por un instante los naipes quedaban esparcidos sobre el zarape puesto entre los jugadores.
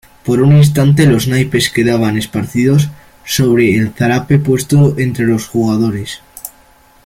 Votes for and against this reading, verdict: 2, 0, accepted